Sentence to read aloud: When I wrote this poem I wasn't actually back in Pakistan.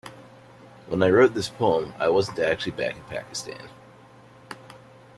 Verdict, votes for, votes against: accepted, 2, 0